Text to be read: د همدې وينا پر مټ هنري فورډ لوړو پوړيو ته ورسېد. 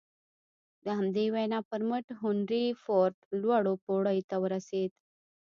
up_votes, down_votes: 1, 2